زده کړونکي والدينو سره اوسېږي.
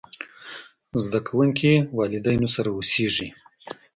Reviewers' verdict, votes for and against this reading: rejected, 1, 2